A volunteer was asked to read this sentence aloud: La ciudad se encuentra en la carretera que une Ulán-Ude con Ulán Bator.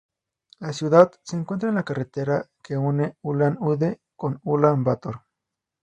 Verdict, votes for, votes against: accepted, 2, 0